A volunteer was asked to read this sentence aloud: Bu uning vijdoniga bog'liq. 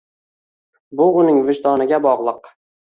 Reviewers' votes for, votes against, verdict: 2, 1, accepted